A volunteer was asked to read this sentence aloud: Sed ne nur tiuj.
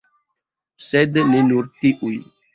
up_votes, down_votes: 2, 0